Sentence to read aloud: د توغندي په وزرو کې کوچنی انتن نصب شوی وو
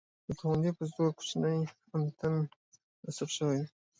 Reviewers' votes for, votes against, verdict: 2, 0, accepted